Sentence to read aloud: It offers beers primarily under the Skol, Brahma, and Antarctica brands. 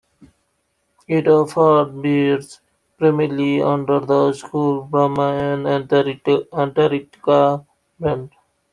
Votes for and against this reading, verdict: 1, 2, rejected